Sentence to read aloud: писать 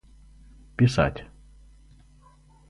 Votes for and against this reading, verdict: 2, 0, accepted